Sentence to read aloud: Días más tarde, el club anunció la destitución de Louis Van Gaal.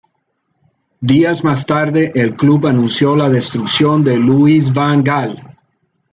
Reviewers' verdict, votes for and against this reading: rejected, 1, 2